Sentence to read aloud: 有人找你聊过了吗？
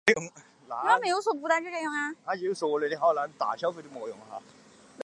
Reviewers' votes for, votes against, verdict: 0, 2, rejected